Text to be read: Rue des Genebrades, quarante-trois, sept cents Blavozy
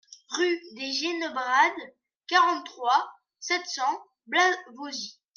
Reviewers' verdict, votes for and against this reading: rejected, 1, 2